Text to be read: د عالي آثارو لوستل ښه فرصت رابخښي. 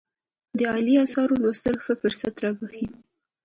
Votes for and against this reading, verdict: 2, 1, accepted